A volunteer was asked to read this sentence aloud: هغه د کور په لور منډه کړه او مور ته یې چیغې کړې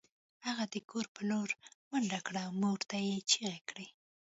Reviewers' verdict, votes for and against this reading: accepted, 2, 0